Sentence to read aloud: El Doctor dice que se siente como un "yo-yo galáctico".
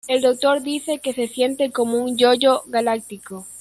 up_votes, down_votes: 0, 2